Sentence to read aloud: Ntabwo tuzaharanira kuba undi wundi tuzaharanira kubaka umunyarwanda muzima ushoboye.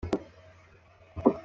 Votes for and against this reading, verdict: 0, 2, rejected